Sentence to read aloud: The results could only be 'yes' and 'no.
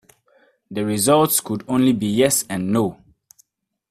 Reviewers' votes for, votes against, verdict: 2, 0, accepted